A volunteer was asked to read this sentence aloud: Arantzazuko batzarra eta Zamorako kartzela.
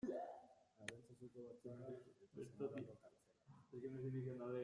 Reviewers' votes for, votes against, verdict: 0, 2, rejected